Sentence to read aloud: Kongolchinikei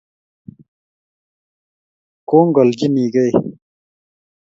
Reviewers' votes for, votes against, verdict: 2, 0, accepted